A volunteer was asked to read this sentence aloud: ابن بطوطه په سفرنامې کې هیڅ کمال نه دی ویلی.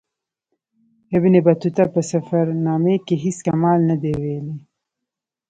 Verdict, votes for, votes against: rejected, 1, 2